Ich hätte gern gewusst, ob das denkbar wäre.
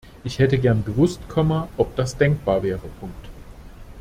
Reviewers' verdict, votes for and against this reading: rejected, 0, 2